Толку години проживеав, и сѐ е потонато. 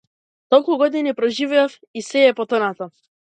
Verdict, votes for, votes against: accepted, 2, 0